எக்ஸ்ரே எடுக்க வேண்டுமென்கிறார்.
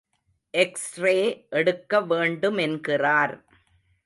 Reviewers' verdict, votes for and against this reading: accepted, 2, 0